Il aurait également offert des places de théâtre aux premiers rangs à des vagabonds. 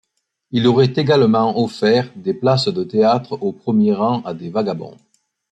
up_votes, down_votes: 2, 0